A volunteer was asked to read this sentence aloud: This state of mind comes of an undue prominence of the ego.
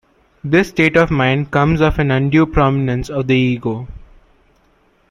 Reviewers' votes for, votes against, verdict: 2, 0, accepted